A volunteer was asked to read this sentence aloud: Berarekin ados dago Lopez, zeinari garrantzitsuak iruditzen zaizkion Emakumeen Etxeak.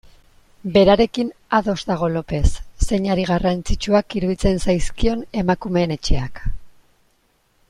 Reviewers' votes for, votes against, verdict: 2, 0, accepted